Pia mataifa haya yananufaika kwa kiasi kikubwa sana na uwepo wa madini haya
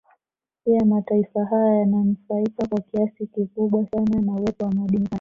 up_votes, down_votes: 2, 1